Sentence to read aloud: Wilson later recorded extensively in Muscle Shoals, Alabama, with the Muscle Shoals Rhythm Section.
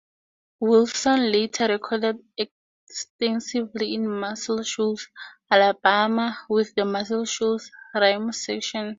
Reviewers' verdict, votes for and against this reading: rejected, 2, 2